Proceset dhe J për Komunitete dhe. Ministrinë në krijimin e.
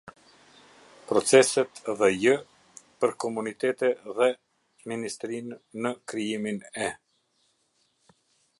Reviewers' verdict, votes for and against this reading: rejected, 0, 2